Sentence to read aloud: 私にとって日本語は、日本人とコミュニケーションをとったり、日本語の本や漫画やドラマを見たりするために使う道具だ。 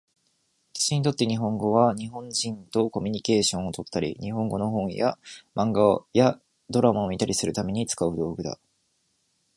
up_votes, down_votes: 2, 0